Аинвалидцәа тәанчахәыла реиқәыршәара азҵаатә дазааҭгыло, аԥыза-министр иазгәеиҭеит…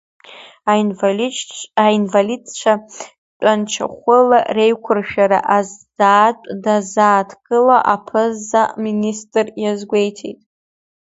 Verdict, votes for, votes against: rejected, 1, 2